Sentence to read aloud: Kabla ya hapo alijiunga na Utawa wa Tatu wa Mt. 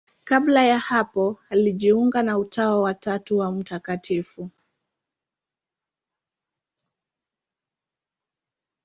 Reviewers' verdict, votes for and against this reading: accepted, 2, 0